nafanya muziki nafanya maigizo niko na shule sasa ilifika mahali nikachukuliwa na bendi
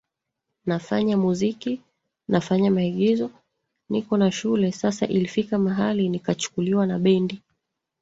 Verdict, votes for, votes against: accepted, 2, 1